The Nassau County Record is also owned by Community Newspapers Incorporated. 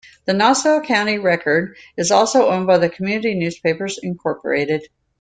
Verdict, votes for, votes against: accepted, 2, 0